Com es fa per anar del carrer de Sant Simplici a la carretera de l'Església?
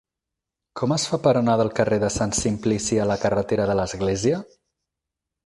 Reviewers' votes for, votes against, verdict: 2, 4, rejected